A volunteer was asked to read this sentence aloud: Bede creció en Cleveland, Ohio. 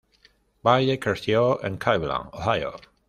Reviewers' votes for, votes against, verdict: 1, 2, rejected